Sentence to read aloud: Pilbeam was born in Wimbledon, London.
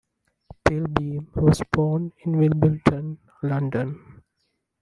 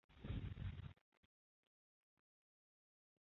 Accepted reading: first